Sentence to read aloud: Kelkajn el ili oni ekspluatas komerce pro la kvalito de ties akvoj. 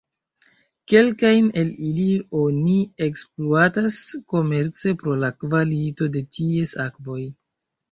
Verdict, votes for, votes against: accepted, 3, 0